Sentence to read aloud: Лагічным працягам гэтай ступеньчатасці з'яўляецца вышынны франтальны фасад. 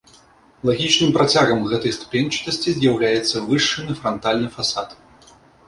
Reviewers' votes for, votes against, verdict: 1, 2, rejected